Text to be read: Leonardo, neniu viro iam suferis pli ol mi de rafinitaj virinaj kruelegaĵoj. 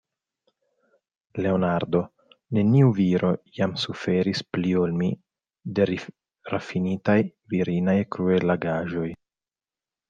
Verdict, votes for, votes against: rejected, 0, 2